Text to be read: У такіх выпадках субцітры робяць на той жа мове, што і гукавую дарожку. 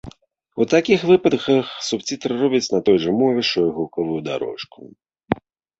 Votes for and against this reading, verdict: 1, 2, rejected